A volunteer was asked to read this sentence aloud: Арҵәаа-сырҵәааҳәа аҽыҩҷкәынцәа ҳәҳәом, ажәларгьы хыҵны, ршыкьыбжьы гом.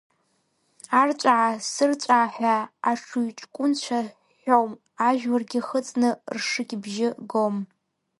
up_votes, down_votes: 1, 2